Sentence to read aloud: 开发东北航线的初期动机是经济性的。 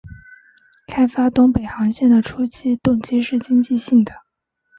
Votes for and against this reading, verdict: 2, 0, accepted